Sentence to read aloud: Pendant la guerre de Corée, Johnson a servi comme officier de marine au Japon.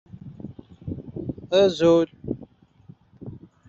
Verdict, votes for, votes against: rejected, 0, 2